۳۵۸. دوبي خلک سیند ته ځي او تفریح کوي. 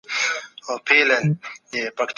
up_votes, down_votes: 0, 2